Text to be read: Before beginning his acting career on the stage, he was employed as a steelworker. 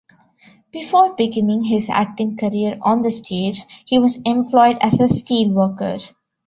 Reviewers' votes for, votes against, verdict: 2, 0, accepted